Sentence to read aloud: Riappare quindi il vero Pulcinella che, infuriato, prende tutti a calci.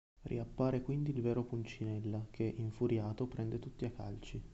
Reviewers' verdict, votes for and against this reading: accepted, 2, 0